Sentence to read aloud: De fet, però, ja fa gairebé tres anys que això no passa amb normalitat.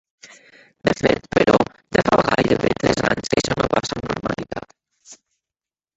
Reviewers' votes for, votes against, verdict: 2, 4, rejected